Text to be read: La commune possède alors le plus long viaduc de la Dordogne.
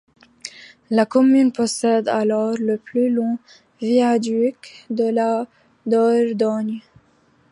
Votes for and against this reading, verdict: 2, 1, accepted